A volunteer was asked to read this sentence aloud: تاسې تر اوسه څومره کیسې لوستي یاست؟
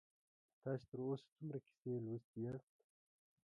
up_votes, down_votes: 1, 2